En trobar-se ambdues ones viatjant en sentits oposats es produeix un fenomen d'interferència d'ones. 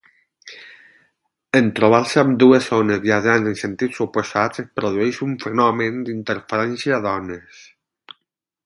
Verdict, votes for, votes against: rejected, 4, 4